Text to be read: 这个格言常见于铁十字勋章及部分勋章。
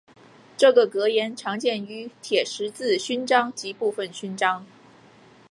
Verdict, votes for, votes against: rejected, 2, 3